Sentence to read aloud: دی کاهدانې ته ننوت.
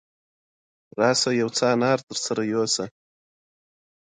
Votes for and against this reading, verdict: 0, 2, rejected